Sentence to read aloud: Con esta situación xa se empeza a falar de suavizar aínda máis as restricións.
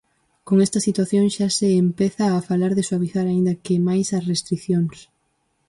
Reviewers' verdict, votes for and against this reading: rejected, 0, 4